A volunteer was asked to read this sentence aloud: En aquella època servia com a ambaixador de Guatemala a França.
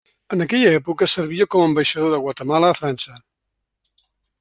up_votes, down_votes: 3, 0